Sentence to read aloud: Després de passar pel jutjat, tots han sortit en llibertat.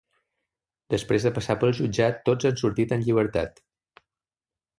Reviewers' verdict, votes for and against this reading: accepted, 2, 0